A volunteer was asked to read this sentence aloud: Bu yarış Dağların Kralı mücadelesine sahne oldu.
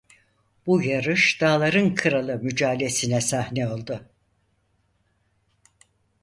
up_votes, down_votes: 0, 6